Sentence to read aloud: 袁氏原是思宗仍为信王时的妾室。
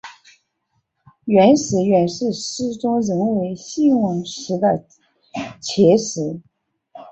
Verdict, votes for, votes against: rejected, 2, 3